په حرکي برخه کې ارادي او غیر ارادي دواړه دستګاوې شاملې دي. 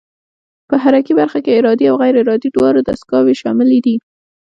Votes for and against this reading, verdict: 2, 1, accepted